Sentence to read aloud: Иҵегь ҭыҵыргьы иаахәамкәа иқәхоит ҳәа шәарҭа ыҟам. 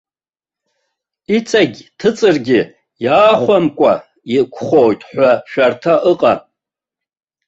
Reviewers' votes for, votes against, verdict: 2, 0, accepted